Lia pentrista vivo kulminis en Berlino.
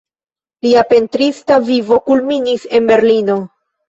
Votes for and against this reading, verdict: 0, 2, rejected